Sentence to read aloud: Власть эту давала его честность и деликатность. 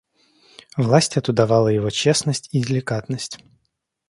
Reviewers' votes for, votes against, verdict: 2, 0, accepted